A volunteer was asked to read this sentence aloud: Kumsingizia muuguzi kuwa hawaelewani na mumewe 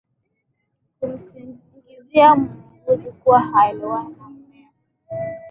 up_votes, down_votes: 5, 7